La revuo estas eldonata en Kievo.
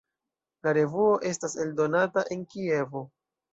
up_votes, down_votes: 2, 0